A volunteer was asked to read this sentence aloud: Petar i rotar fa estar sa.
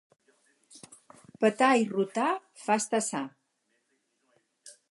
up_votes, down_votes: 4, 0